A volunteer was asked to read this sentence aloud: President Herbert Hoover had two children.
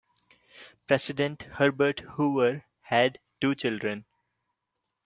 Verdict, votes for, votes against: accepted, 2, 0